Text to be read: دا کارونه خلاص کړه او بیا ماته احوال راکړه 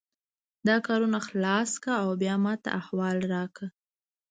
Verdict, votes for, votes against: accepted, 2, 0